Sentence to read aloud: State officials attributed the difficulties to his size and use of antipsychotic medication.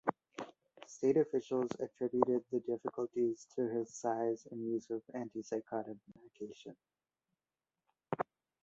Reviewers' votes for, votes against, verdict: 2, 0, accepted